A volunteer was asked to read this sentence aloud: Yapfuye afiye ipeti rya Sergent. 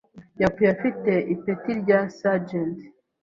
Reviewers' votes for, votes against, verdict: 2, 0, accepted